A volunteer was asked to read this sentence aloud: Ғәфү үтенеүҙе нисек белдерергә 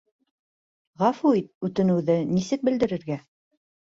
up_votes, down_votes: 1, 2